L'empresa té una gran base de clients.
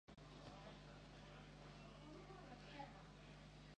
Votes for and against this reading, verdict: 0, 2, rejected